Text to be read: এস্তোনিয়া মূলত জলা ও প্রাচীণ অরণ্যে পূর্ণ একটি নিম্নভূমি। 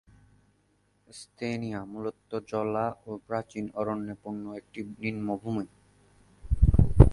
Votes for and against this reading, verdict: 0, 2, rejected